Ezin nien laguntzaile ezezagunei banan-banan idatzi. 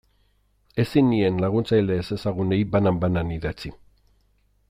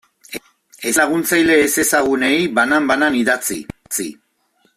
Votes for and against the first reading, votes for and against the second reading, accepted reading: 2, 0, 0, 2, first